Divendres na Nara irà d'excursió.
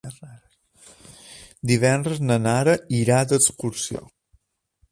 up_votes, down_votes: 2, 0